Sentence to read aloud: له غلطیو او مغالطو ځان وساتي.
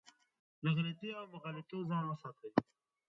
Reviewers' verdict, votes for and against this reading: rejected, 1, 2